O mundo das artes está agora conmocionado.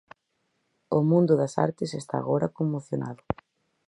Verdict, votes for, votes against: accepted, 4, 0